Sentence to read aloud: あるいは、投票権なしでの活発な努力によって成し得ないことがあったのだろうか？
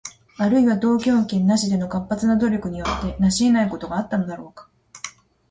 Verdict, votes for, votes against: accepted, 2, 0